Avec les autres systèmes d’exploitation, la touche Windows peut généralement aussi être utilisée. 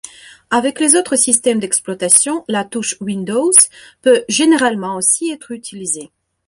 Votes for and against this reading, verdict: 2, 0, accepted